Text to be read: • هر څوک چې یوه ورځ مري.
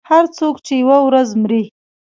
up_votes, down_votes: 1, 2